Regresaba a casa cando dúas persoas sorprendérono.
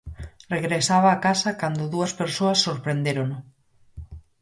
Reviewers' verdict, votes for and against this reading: accepted, 4, 0